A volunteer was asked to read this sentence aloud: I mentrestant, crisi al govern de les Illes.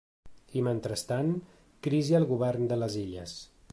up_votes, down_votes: 2, 0